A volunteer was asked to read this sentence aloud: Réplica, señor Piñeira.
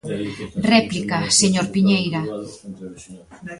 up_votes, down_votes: 1, 2